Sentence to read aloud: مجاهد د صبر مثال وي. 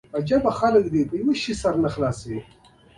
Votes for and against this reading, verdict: 0, 2, rejected